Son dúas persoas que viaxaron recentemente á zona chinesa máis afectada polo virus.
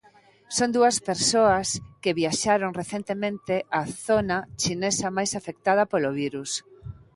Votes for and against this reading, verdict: 2, 0, accepted